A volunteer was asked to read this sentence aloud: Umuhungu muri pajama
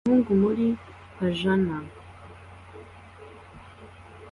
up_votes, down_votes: 2, 0